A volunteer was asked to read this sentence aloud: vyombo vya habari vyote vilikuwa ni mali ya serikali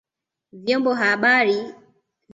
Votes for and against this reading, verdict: 0, 2, rejected